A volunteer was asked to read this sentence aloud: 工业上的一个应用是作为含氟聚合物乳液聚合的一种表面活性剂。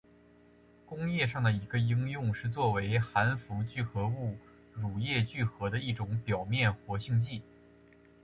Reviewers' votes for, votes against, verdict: 2, 1, accepted